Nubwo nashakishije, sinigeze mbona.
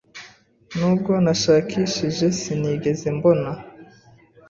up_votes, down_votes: 2, 0